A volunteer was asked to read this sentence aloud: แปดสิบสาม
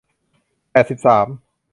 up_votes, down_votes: 2, 0